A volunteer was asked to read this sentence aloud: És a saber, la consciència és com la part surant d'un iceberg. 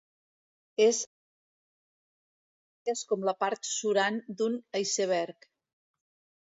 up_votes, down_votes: 0, 2